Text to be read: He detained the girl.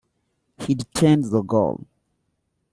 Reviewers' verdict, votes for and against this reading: rejected, 1, 2